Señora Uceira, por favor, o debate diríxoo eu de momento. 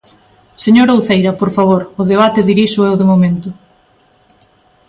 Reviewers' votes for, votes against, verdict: 2, 0, accepted